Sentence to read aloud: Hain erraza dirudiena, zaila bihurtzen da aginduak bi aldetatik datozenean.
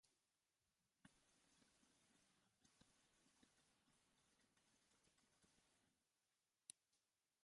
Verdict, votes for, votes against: rejected, 0, 5